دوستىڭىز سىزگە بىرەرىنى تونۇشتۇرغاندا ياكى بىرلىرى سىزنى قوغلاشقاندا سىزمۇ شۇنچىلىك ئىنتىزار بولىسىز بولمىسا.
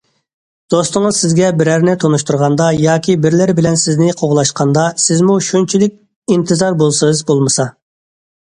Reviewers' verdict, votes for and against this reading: rejected, 1, 2